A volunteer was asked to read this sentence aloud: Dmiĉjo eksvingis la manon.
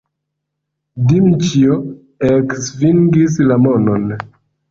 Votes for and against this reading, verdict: 0, 2, rejected